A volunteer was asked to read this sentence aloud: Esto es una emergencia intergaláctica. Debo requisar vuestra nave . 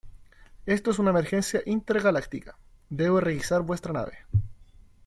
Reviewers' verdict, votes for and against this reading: accepted, 2, 0